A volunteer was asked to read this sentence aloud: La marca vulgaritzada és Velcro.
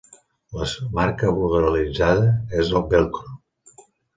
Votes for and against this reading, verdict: 1, 2, rejected